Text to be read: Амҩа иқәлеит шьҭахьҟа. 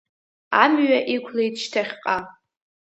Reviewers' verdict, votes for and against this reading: accepted, 2, 0